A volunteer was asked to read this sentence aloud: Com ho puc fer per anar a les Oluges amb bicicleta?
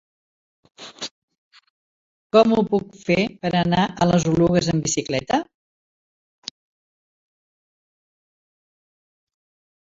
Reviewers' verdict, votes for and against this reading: rejected, 0, 3